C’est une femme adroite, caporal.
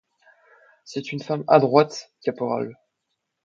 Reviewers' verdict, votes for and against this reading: accepted, 2, 0